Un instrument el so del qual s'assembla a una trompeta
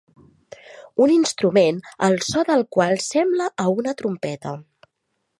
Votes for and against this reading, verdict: 0, 2, rejected